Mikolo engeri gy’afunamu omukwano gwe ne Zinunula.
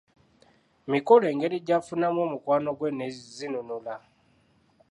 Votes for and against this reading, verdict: 2, 0, accepted